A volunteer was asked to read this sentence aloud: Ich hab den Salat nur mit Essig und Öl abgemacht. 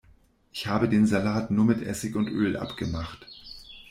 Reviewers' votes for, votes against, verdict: 0, 2, rejected